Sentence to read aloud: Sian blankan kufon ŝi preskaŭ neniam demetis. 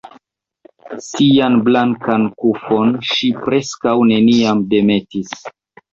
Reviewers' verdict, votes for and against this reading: accepted, 2, 0